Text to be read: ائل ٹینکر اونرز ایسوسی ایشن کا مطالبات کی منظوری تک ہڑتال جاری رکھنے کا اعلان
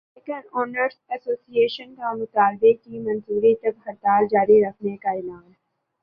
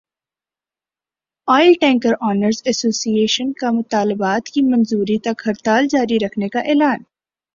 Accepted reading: second